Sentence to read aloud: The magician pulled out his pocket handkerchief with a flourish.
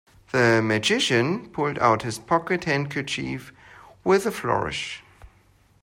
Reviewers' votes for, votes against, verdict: 2, 0, accepted